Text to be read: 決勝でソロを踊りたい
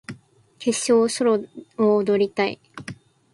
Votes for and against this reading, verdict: 10, 4, accepted